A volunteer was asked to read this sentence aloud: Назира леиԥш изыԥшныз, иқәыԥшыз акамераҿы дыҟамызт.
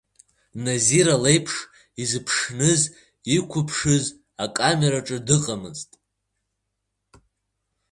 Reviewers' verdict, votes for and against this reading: accepted, 3, 0